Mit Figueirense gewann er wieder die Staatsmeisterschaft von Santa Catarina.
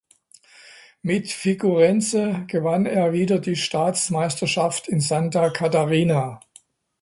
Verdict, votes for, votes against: rejected, 0, 2